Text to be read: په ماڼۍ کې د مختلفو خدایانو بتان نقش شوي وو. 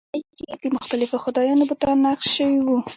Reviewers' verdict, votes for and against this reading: rejected, 0, 2